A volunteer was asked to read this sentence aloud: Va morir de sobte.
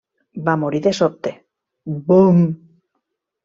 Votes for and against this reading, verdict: 1, 2, rejected